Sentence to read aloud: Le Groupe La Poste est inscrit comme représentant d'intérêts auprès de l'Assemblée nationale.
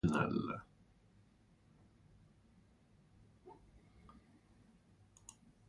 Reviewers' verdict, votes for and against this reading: rejected, 0, 2